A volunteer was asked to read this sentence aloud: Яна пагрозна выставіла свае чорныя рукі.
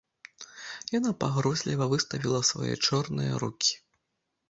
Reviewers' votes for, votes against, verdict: 0, 2, rejected